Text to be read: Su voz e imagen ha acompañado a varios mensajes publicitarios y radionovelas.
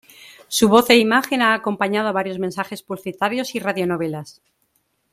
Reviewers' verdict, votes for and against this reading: rejected, 1, 2